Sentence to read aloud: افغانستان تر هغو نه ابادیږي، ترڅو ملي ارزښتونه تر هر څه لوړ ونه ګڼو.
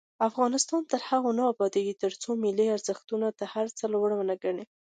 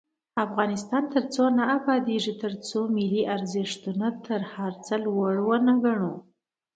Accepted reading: first